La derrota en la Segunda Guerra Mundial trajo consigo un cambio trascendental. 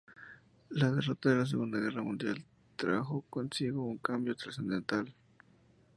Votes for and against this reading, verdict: 2, 0, accepted